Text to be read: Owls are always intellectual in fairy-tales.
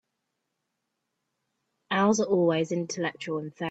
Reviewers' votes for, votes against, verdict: 0, 2, rejected